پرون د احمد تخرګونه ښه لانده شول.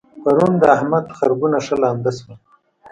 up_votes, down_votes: 0, 2